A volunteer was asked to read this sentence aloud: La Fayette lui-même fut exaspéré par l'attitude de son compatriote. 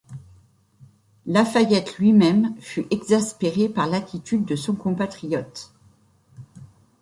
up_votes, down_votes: 2, 0